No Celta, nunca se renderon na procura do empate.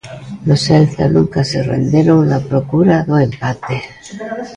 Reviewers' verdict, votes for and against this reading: rejected, 1, 2